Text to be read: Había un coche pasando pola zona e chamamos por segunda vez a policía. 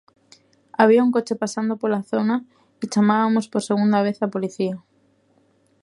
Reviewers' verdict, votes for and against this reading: rejected, 0, 2